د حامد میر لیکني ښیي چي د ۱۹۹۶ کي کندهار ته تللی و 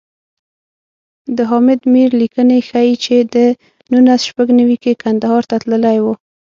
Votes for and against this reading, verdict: 0, 2, rejected